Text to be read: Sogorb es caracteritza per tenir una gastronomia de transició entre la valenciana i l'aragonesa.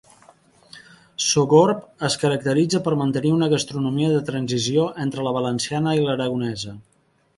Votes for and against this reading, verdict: 0, 2, rejected